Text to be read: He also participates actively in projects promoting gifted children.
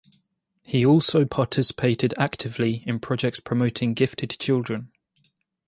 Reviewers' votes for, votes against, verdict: 0, 2, rejected